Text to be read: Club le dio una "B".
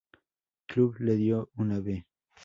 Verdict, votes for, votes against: accepted, 4, 0